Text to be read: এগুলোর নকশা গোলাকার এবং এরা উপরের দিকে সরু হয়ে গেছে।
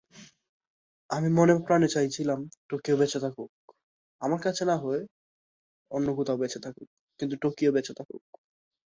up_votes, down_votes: 0, 2